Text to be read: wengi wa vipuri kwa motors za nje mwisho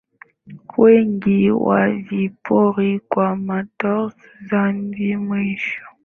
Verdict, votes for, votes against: rejected, 3, 10